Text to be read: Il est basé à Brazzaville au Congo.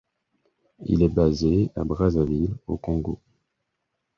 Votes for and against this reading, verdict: 4, 0, accepted